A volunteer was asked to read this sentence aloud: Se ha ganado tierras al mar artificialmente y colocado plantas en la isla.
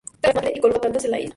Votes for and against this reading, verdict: 0, 2, rejected